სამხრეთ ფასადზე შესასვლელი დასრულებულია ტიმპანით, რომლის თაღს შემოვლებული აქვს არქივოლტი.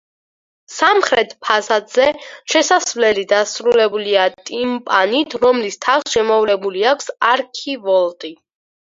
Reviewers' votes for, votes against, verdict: 4, 0, accepted